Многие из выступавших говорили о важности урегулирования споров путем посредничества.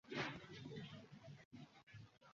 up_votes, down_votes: 0, 2